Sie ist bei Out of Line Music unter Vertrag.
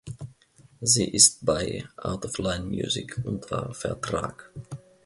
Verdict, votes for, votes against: accepted, 2, 0